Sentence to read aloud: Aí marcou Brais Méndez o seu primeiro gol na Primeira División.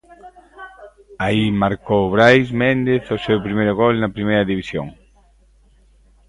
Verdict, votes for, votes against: accepted, 2, 1